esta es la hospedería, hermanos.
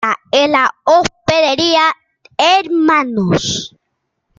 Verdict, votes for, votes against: rejected, 0, 2